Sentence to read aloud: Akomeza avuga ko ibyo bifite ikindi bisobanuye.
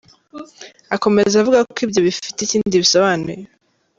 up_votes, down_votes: 3, 0